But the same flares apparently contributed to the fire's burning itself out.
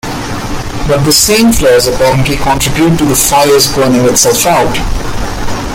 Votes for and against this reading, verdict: 1, 2, rejected